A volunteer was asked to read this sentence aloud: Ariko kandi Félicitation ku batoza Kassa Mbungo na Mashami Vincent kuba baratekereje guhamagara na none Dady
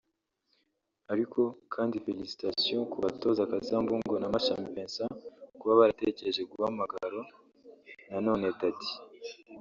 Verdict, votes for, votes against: rejected, 0, 2